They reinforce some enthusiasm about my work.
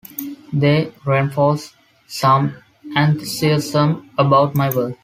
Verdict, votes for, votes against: accepted, 2, 0